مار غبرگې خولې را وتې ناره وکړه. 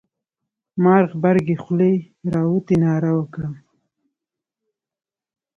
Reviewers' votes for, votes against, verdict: 2, 1, accepted